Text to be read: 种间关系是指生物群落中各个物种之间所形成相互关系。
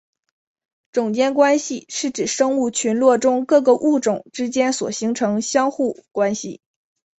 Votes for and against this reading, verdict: 1, 2, rejected